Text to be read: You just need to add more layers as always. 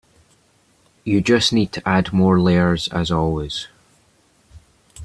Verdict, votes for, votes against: accepted, 3, 0